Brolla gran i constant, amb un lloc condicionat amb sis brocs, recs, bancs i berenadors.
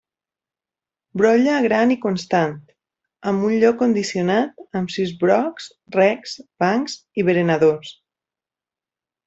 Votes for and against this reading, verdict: 2, 0, accepted